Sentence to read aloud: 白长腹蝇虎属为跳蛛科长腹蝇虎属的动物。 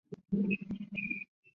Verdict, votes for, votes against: rejected, 1, 3